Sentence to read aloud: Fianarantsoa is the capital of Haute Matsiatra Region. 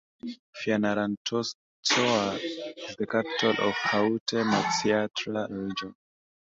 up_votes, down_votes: 0, 2